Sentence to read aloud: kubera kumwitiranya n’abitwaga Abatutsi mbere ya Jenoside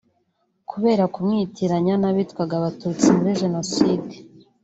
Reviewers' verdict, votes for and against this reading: rejected, 0, 2